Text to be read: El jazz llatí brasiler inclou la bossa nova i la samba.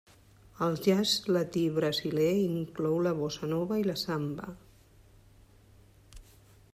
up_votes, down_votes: 0, 2